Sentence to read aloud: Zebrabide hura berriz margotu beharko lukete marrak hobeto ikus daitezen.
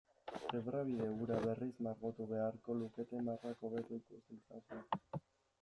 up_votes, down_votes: 1, 2